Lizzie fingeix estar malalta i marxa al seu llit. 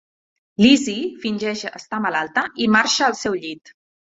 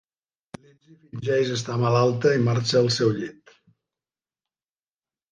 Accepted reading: first